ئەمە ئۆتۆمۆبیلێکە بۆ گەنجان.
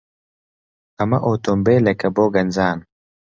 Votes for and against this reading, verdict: 2, 0, accepted